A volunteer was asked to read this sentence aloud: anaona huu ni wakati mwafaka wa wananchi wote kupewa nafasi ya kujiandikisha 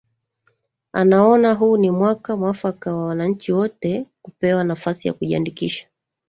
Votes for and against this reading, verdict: 1, 2, rejected